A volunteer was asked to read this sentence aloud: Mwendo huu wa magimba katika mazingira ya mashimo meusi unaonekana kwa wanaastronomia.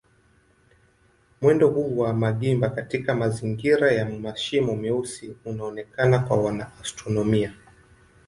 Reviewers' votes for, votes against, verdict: 2, 0, accepted